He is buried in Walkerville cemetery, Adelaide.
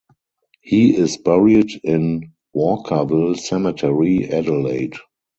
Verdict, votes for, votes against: rejected, 0, 2